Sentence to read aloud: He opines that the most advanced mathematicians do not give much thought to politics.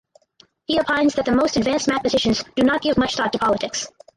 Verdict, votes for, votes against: rejected, 6, 8